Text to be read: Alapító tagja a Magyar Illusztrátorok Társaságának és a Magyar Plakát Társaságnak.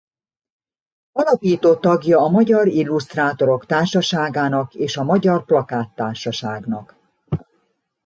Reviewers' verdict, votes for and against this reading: accepted, 2, 0